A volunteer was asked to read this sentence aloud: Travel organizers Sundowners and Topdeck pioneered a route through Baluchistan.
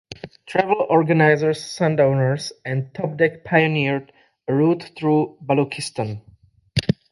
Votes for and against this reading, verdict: 2, 0, accepted